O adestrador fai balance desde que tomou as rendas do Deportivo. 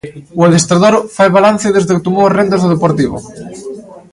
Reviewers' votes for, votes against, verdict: 2, 0, accepted